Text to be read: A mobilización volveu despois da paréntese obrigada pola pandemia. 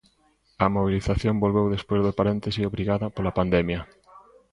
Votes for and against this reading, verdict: 1, 2, rejected